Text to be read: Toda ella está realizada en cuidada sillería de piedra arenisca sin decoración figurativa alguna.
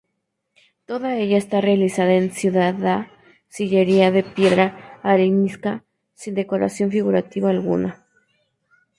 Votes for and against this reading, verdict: 0, 4, rejected